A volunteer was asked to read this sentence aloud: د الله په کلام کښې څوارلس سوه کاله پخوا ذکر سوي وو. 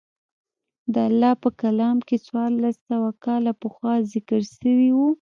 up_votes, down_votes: 2, 0